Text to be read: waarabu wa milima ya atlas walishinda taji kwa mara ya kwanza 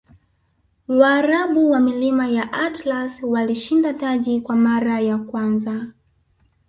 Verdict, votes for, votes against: rejected, 1, 2